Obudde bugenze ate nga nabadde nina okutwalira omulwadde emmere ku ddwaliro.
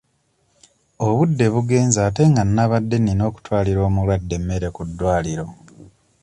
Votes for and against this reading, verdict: 2, 0, accepted